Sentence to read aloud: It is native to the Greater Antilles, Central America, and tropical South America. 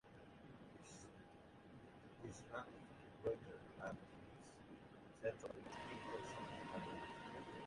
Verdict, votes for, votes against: rejected, 0, 2